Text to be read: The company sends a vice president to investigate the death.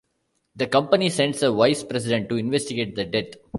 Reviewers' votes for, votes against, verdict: 2, 0, accepted